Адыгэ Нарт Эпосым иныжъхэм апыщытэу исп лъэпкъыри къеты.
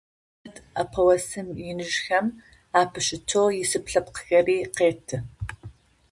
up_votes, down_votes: 0, 2